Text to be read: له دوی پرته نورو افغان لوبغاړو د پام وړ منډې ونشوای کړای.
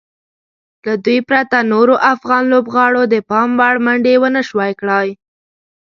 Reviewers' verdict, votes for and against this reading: accepted, 3, 0